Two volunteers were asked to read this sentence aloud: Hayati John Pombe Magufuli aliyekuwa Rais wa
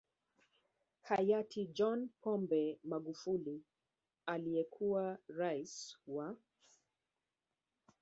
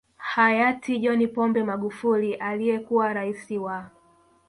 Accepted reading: second